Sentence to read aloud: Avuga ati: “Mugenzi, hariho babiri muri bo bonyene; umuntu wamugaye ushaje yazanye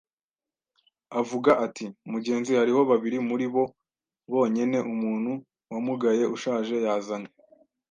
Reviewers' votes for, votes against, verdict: 2, 0, accepted